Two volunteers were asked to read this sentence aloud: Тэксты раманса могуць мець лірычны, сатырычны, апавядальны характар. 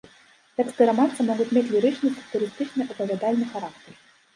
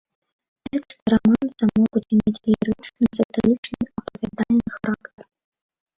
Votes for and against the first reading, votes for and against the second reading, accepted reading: 2, 0, 0, 2, first